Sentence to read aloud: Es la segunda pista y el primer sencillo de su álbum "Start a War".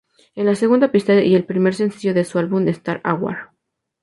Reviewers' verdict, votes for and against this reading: accepted, 2, 0